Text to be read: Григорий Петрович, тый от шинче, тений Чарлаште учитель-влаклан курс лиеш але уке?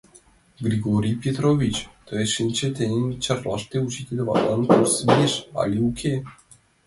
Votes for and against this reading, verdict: 0, 2, rejected